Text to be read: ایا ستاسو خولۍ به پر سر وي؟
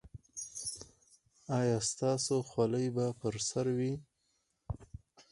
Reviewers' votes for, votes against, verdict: 6, 2, accepted